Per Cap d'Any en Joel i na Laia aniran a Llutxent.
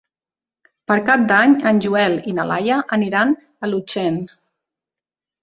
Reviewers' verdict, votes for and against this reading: rejected, 0, 2